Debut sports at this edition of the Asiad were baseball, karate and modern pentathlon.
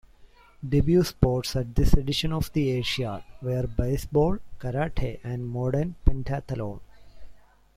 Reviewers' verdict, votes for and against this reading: rejected, 0, 2